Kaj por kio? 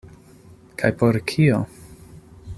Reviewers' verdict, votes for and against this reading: accepted, 2, 0